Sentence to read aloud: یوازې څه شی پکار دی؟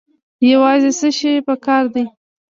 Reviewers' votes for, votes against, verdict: 2, 0, accepted